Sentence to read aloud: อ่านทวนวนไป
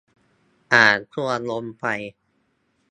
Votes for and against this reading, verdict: 2, 0, accepted